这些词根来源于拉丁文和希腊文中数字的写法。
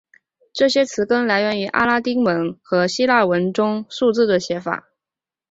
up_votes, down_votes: 2, 1